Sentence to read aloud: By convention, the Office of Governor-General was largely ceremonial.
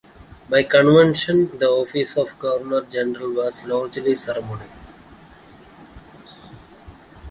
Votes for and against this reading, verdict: 2, 0, accepted